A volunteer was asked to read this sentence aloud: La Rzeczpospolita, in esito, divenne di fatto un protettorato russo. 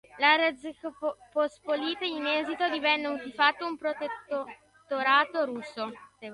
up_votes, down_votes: 0, 2